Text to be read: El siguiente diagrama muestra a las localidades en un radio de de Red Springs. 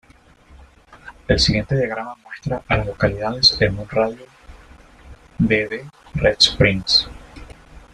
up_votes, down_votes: 2, 0